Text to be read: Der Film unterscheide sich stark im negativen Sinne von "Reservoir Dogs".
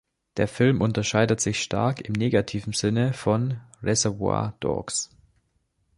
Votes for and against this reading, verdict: 1, 2, rejected